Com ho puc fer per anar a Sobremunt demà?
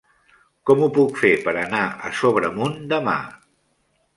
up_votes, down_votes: 3, 0